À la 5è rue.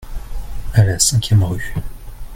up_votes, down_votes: 0, 2